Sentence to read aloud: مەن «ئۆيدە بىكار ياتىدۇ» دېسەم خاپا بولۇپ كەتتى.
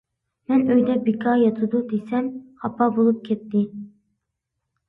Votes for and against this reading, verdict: 2, 0, accepted